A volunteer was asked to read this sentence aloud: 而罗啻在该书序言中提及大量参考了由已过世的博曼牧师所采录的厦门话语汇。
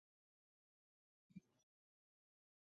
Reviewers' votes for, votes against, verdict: 2, 1, accepted